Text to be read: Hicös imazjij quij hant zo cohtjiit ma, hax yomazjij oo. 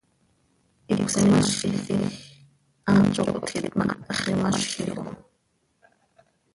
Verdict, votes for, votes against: rejected, 0, 2